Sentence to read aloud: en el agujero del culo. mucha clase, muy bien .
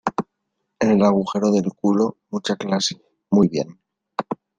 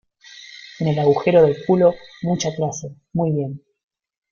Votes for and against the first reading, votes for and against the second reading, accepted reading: 2, 0, 1, 2, first